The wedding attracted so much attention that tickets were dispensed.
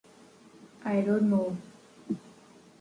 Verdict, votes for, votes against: rejected, 1, 2